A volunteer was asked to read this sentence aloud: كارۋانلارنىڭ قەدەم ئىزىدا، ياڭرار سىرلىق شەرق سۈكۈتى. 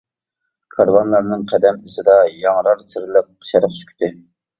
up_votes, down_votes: 2, 0